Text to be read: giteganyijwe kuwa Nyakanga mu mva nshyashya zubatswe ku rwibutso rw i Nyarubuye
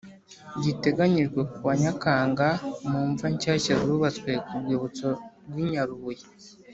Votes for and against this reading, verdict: 2, 0, accepted